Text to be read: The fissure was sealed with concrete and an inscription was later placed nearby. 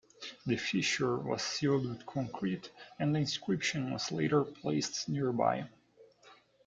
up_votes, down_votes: 2, 1